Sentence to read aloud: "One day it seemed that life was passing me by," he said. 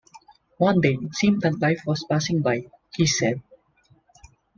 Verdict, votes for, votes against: rejected, 0, 2